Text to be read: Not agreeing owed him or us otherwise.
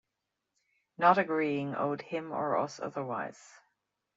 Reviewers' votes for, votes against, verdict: 0, 2, rejected